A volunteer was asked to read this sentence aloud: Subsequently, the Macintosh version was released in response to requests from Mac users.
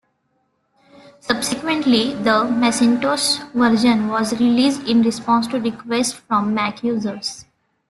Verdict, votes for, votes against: rejected, 1, 2